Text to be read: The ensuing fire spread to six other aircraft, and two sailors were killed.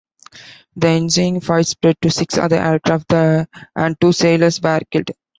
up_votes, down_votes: 1, 2